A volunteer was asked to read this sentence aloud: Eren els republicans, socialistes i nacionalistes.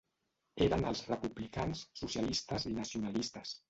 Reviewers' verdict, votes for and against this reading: rejected, 1, 2